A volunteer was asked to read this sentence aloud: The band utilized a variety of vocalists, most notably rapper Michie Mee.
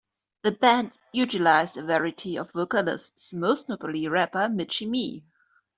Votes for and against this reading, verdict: 2, 0, accepted